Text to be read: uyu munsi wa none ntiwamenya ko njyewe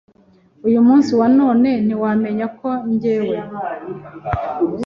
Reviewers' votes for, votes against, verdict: 2, 0, accepted